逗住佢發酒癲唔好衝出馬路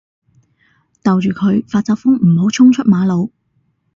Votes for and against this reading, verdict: 2, 4, rejected